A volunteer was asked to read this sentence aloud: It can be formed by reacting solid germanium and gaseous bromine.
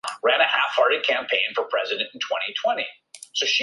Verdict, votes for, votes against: rejected, 0, 2